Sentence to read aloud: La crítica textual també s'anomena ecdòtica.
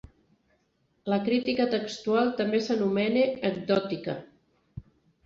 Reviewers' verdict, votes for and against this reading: accepted, 2, 0